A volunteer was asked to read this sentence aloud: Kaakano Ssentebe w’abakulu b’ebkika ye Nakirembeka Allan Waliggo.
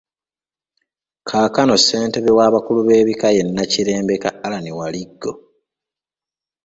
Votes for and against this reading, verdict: 2, 0, accepted